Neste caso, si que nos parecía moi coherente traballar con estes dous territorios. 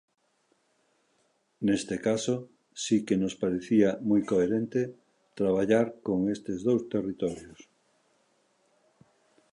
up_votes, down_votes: 2, 0